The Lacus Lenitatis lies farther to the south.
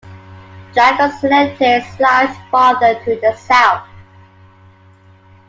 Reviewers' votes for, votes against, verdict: 2, 1, accepted